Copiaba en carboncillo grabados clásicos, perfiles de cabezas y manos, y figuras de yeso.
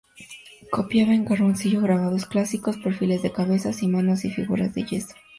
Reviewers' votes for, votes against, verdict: 2, 0, accepted